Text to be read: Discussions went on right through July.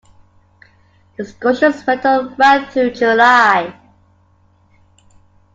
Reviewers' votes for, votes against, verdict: 0, 2, rejected